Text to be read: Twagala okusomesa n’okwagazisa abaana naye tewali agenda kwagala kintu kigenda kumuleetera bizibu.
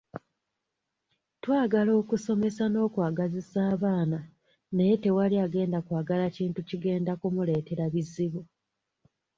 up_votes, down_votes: 2, 0